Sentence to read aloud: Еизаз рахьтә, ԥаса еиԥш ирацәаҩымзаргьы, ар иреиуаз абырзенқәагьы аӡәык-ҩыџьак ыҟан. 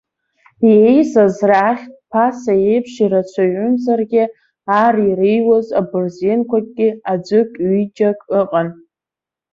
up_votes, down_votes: 2, 1